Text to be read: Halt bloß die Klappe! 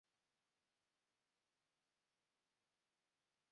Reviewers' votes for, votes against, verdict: 0, 3, rejected